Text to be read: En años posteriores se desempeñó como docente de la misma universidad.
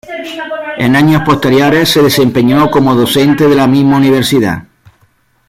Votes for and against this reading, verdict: 1, 2, rejected